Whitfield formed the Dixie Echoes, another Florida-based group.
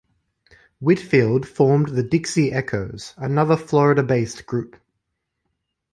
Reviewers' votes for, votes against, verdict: 2, 0, accepted